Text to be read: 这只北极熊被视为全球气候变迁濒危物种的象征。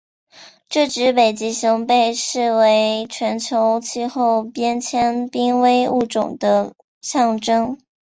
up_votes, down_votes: 2, 0